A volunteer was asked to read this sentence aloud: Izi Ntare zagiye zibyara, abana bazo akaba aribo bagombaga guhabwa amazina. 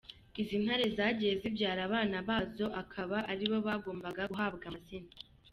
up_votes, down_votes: 2, 0